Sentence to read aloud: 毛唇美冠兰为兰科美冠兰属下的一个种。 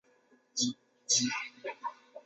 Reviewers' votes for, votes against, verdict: 1, 2, rejected